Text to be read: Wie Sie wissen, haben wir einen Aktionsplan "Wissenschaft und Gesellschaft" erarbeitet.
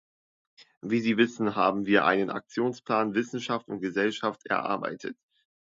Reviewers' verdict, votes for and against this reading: accepted, 2, 0